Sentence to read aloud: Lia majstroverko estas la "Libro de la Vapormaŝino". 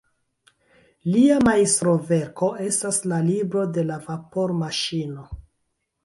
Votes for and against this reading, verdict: 1, 2, rejected